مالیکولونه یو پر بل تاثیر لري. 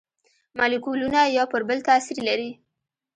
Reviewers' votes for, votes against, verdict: 2, 0, accepted